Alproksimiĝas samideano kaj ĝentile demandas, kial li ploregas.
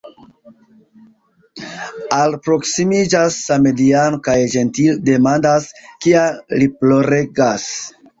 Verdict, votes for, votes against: accepted, 2, 0